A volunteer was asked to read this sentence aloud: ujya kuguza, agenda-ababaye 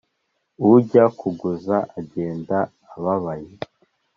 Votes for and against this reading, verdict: 3, 0, accepted